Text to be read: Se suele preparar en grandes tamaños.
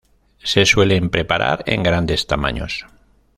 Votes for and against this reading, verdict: 0, 2, rejected